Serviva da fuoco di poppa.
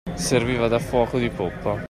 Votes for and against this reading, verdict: 2, 1, accepted